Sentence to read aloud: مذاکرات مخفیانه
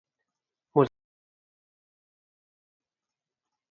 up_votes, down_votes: 0, 4